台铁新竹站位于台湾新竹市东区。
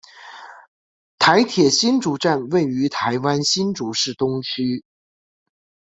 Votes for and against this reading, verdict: 2, 0, accepted